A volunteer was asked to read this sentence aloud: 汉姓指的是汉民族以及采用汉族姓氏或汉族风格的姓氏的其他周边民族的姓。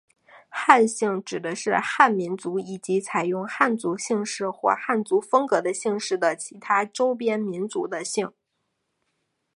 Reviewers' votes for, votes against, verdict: 0, 2, rejected